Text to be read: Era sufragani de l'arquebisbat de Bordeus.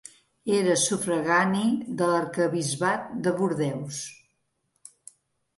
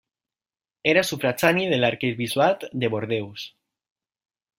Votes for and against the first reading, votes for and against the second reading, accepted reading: 2, 1, 0, 2, first